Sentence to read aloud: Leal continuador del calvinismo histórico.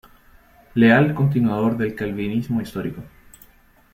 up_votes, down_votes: 2, 0